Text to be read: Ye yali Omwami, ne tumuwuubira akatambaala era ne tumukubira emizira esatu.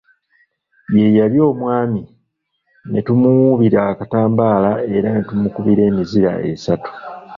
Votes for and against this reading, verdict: 0, 2, rejected